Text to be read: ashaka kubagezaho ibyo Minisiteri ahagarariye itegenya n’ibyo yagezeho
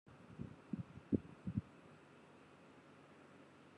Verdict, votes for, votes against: rejected, 1, 3